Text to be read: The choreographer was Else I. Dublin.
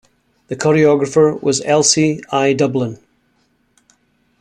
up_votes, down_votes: 2, 0